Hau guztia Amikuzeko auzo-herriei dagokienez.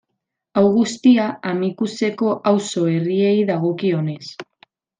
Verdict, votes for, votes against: rejected, 1, 2